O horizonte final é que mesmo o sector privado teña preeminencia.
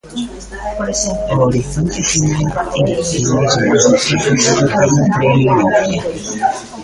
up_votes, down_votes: 0, 2